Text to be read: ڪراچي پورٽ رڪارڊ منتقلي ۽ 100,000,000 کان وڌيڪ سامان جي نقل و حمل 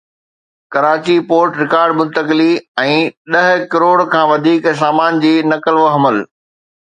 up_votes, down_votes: 0, 2